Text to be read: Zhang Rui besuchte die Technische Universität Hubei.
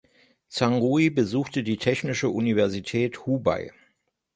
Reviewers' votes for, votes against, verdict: 3, 0, accepted